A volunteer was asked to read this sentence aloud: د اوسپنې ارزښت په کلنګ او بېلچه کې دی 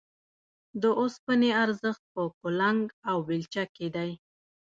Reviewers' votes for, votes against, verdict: 2, 0, accepted